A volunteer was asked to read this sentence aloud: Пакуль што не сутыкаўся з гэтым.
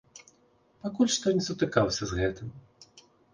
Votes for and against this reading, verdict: 4, 0, accepted